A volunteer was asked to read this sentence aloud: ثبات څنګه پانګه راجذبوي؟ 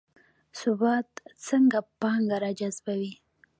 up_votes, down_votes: 1, 2